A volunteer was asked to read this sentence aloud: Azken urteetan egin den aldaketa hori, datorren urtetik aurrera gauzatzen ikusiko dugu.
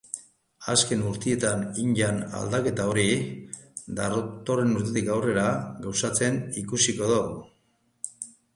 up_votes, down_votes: 0, 3